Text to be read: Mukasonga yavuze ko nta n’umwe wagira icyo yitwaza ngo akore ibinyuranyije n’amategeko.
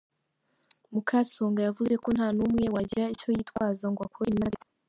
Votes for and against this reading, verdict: 0, 2, rejected